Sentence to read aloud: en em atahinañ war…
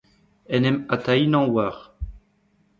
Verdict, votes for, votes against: accepted, 2, 1